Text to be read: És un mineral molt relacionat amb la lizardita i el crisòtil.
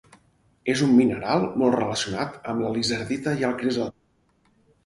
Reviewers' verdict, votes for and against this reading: rejected, 0, 4